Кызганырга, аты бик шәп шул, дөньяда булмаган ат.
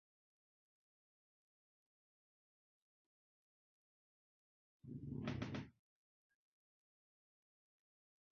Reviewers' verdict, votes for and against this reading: rejected, 0, 2